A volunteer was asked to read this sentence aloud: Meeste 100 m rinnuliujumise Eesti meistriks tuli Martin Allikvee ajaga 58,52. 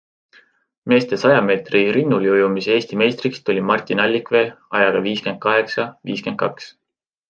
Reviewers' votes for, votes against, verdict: 0, 2, rejected